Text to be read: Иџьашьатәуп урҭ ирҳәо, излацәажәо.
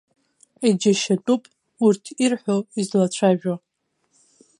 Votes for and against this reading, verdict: 2, 0, accepted